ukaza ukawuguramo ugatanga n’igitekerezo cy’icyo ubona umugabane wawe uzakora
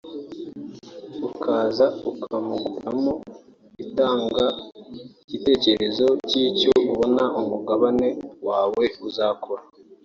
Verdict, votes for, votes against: rejected, 1, 3